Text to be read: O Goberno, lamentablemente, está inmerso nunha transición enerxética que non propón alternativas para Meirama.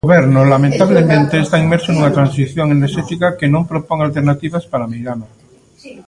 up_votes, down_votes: 0, 2